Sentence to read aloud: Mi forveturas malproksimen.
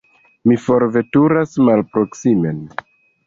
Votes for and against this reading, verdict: 2, 0, accepted